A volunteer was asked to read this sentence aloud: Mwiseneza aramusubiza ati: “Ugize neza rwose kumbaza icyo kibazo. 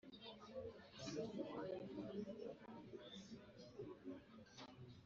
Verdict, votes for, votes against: rejected, 0, 2